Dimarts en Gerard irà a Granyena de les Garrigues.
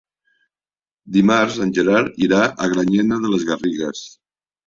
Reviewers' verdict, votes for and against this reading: accepted, 3, 0